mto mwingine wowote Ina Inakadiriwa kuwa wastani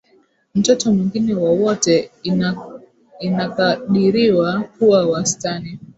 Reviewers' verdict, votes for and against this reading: rejected, 0, 2